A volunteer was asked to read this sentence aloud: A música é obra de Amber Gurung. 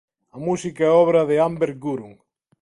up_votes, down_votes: 4, 0